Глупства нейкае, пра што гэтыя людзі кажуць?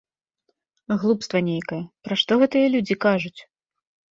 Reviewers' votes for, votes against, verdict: 2, 0, accepted